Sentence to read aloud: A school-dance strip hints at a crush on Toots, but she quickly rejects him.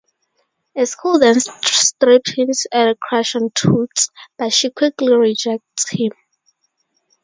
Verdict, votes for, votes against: accepted, 2, 0